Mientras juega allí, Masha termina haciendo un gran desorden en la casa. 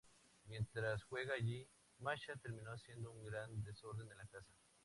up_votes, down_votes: 2, 0